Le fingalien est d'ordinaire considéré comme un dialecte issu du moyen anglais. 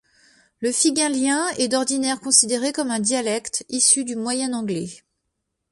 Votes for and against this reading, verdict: 0, 2, rejected